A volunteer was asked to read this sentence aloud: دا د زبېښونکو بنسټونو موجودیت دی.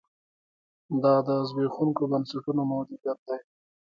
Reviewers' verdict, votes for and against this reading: accepted, 2, 1